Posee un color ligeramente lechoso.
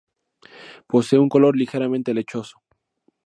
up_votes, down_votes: 2, 0